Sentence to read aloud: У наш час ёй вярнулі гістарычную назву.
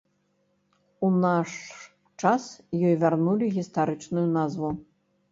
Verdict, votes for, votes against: accepted, 2, 0